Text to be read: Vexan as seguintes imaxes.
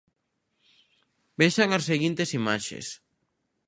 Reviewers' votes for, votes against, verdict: 2, 0, accepted